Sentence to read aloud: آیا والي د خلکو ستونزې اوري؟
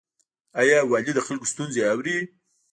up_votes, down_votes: 1, 2